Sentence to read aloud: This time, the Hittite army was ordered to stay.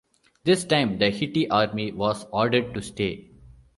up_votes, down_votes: 1, 2